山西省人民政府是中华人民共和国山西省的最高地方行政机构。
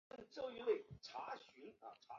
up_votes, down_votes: 2, 1